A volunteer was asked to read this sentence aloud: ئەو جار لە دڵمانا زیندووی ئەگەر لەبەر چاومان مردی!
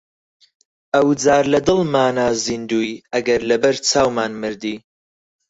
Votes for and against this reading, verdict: 4, 0, accepted